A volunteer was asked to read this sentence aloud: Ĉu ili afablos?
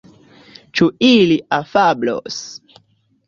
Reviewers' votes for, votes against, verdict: 2, 0, accepted